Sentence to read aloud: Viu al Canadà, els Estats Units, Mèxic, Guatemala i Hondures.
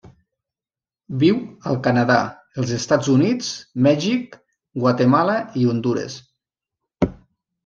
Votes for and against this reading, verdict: 2, 0, accepted